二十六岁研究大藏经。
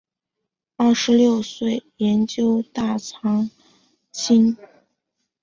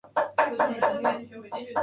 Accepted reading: first